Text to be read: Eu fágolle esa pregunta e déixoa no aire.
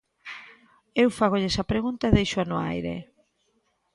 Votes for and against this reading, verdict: 2, 0, accepted